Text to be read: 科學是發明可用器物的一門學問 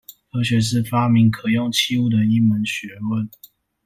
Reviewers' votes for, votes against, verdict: 2, 0, accepted